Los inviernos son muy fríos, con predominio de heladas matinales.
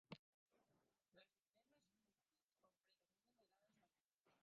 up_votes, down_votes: 0, 2